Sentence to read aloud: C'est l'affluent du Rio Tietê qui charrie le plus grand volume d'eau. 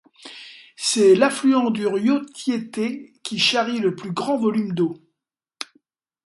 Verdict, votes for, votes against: accepted, 2, 0